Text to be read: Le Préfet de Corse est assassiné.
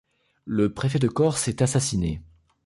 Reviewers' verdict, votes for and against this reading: accepted, 2, 0